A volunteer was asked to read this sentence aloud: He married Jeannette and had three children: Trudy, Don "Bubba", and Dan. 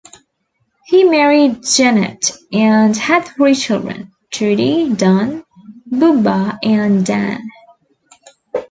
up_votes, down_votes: 2, 0